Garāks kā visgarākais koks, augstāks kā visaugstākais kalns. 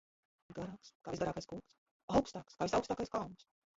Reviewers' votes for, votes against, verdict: 0, 2, rejected